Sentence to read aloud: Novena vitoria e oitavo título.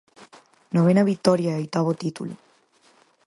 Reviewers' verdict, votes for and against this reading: accepted, 4, 0